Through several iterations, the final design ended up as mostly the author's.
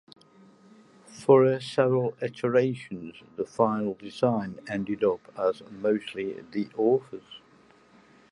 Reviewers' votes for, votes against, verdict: 2, 1, accepted